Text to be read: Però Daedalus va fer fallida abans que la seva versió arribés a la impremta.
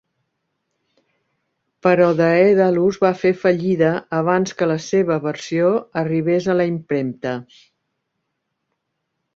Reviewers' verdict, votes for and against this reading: accepted, 4, 0